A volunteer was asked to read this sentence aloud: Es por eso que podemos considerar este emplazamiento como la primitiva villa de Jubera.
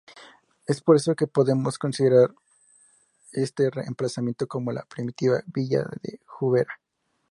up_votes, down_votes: 0, 4